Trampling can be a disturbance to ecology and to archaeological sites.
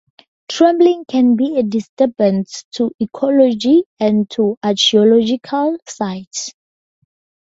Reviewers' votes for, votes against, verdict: 0, 4, rejected